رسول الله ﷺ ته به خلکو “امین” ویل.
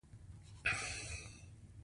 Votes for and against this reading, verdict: 2, 1, accepted